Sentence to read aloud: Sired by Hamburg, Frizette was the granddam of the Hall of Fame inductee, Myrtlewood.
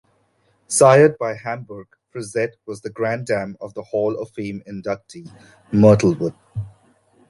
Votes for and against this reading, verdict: 2, 0, accepted